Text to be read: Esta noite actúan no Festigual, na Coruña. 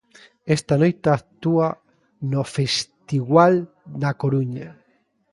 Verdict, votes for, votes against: rejected, 0, 2